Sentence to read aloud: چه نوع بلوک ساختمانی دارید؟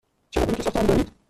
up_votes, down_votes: 1, 2